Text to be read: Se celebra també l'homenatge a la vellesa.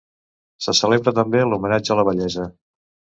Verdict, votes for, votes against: accepted, 2, 0